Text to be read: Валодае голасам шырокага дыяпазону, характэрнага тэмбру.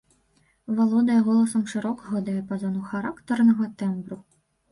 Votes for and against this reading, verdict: 1, 2, rejected